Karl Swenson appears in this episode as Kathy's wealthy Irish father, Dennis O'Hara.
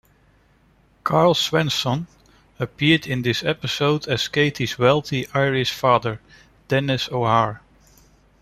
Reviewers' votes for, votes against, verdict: 0, 2, rejected